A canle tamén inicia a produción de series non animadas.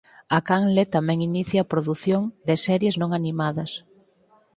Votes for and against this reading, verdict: 4, 0, accepted